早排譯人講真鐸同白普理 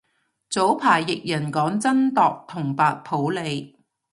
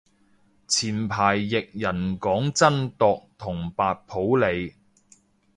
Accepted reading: first